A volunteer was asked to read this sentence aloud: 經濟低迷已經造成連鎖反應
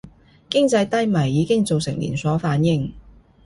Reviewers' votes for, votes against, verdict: 2, 0, accepted